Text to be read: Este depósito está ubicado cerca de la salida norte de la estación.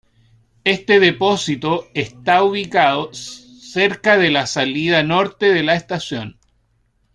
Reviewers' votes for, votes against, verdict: 0, 2, rejected